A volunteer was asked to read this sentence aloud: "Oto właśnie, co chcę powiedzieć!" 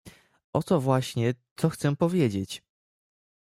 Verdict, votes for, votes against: accepted, 2, 0